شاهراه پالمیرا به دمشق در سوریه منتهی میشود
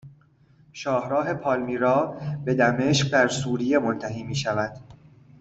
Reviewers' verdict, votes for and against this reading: accepted, 2, 0